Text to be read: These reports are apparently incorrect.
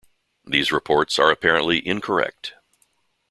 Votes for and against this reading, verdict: 2, 0, accepted